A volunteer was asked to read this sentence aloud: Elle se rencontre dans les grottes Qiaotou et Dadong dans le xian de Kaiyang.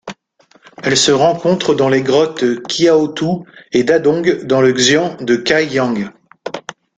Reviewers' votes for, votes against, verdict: 1, 2, rejected